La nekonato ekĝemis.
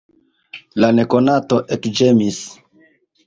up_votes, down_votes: 2, 0